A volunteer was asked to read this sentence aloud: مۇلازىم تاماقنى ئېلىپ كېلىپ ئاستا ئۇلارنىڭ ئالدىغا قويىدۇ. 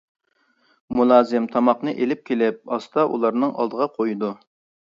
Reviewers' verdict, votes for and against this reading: accepted, 2, 0